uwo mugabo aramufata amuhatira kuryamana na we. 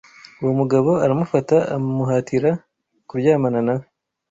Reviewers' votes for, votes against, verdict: 1, 2, rejected